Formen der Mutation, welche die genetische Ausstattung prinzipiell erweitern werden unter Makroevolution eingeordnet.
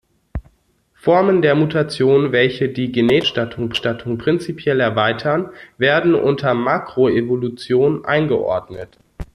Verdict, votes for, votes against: rejected, 0, 2